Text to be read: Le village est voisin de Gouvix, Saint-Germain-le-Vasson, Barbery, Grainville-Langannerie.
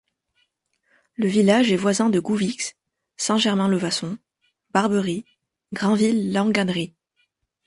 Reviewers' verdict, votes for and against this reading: accepted, 2, 0